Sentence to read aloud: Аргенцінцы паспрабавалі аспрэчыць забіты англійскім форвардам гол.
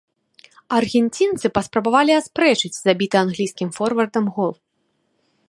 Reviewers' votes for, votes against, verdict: 1, 2, rejected